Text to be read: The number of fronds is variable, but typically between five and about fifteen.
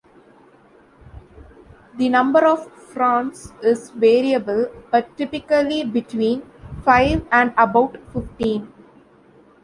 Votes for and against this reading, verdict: 0, 2, rejected